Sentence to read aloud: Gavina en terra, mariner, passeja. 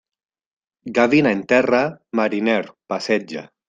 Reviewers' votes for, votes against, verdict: 0, 2, rejected